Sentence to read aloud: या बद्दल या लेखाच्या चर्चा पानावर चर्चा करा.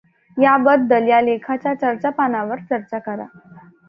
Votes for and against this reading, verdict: 2, 0, accepted